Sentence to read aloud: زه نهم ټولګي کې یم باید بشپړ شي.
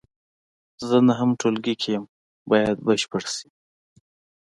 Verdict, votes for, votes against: accepted, 2, 0